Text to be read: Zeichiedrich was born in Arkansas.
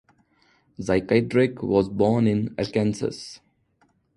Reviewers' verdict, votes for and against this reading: accepted, 2, 0